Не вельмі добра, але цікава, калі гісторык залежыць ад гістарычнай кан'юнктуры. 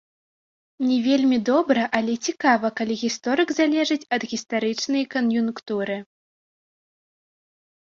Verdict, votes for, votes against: rejected, 0, 2